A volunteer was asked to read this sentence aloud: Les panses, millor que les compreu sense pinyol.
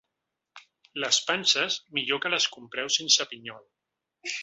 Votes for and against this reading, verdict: 2, 0, accepted